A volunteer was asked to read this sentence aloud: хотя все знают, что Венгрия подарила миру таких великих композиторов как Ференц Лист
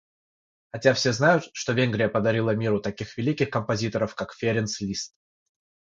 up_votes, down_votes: 6, 0